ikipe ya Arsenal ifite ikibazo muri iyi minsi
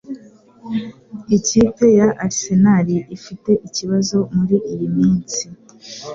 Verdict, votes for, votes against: accepted, 3, 0